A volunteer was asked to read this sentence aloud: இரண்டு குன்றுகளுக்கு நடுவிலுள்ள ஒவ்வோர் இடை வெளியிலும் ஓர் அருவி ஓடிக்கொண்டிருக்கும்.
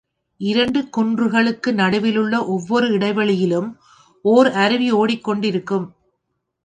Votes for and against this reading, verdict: 3, 0, accepted